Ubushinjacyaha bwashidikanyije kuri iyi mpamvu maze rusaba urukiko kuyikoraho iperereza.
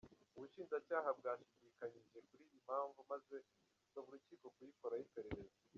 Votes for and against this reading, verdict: 1, 2, rejected